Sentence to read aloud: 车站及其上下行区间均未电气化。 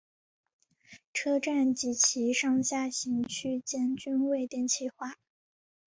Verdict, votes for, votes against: accepted, 3, 0